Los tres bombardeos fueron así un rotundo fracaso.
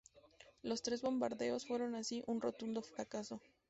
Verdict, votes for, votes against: accepted, 2, 0